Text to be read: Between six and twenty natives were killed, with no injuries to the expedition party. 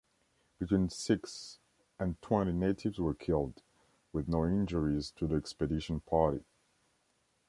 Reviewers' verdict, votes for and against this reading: accepted, 2, 1